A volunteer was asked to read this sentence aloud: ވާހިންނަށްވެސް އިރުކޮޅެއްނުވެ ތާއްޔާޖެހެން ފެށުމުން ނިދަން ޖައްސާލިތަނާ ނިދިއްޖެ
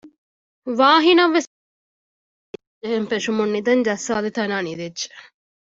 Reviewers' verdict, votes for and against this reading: rejected, 0, 2